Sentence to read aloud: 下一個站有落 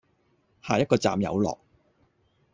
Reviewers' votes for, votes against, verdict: 2, 0, accepted